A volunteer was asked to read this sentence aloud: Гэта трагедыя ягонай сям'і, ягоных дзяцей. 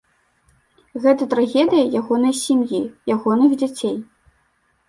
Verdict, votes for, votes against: accepted, 2, 0